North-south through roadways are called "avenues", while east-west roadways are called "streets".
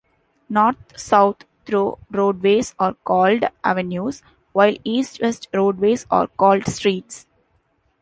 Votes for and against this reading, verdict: 2, 0, accepted